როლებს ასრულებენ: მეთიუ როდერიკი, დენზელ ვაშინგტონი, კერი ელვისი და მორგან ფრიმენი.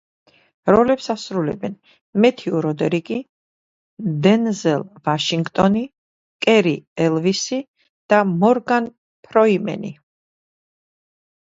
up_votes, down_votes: 0, 2